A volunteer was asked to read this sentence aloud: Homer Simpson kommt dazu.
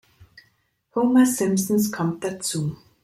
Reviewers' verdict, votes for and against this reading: rejected, 0, 2